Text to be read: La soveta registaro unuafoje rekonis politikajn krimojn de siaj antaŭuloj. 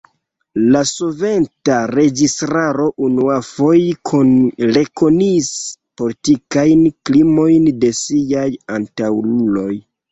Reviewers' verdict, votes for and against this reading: rejected, 1, 2